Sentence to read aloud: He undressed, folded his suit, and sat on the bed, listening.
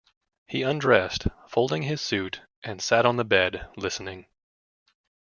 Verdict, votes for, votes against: rejected, 0, 2